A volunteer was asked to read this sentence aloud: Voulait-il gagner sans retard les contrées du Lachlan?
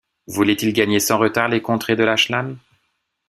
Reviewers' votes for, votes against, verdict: 1, 2, rejected